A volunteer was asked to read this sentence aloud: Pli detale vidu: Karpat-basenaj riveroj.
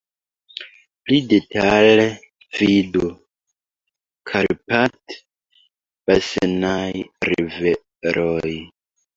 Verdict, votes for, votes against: rejected, 1, 2